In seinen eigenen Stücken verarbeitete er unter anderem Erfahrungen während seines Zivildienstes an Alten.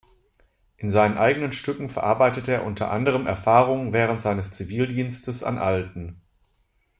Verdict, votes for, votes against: accepted, 2, 0